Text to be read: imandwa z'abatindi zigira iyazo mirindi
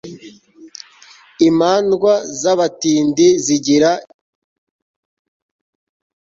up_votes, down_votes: 0, 2